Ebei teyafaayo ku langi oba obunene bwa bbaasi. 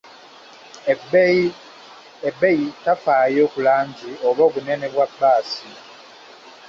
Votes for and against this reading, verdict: 0, 2, rejected